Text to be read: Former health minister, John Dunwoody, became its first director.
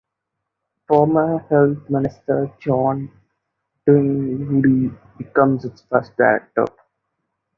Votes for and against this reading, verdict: 0, 2, rejected